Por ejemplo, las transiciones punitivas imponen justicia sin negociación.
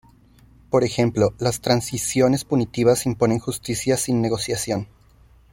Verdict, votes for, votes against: accepted, 2, 0